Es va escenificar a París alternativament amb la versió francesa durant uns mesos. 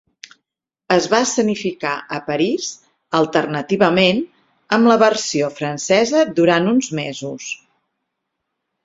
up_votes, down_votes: 6, 0